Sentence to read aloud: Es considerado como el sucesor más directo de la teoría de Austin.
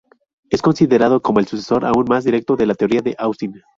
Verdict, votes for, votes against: rejected, 0, 4